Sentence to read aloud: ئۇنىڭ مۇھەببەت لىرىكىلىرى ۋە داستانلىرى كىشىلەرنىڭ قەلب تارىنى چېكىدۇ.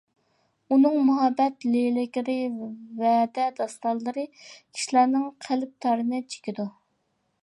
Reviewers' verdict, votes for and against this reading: rejected, 0, 2